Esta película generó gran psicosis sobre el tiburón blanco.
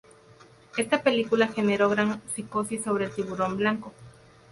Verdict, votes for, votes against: accepted, 2, 0